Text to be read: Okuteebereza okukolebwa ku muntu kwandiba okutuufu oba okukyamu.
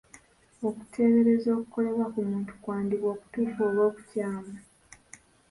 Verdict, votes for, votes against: accepted, 2, 1